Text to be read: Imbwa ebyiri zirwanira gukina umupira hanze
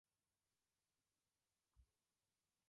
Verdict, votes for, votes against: rejected, 0, 2